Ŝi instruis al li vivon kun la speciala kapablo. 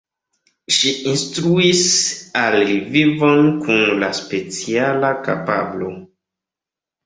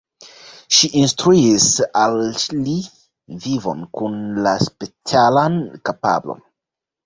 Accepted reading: first